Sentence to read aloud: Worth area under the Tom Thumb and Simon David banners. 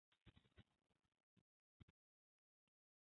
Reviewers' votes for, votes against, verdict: 0, 2, rejected